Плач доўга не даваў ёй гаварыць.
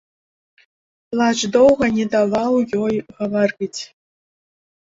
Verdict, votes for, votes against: accepted, 2, 0